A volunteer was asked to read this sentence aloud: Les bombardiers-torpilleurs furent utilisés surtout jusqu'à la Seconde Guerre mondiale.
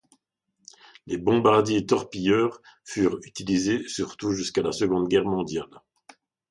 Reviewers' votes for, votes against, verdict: 2, 0, accepted